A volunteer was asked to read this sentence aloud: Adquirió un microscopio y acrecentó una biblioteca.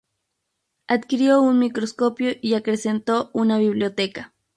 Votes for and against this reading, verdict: 10, 0, accepted